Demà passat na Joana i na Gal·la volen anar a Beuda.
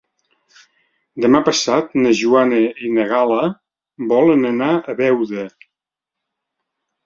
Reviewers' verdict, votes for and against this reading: accepted, 3, 0